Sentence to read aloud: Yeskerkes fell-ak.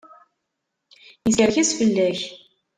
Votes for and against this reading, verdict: 1, 2, rejected